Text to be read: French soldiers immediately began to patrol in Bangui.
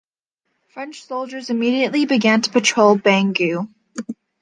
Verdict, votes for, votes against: rejected, 1, 2